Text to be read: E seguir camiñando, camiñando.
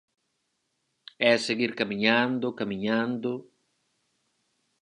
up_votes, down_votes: 4, 0